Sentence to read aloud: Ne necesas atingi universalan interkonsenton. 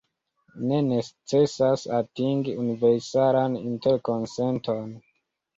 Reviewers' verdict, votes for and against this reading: rejected, 1, 2